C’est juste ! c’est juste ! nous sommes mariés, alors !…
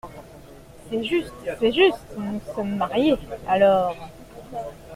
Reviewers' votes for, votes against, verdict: 2, 0, accepted